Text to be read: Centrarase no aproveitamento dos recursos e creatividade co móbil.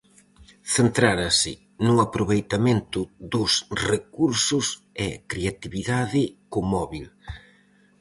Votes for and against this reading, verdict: 0, 4, rejected